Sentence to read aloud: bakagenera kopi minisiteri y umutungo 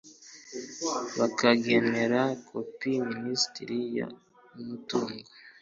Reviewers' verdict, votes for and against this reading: rejected, 1, 2